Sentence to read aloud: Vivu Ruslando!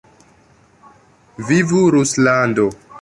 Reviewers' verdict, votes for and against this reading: accepted, 2, 0